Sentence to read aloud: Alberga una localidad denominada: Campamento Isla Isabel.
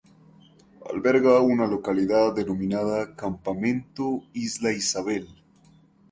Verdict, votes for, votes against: accepted, 2, 0